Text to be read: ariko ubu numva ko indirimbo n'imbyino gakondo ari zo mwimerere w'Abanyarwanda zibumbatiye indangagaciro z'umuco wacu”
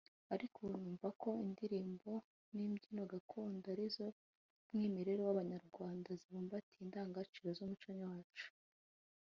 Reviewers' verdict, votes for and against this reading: rejected, 1, 2